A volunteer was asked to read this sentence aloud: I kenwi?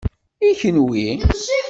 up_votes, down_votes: 1, 2